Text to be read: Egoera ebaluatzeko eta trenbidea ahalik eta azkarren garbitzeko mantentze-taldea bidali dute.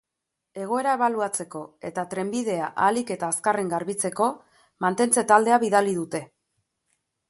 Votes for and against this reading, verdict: 2, 0, accepted